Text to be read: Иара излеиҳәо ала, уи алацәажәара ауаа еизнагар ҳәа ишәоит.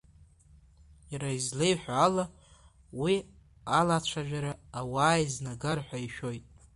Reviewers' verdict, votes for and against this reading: rejected, 0, 2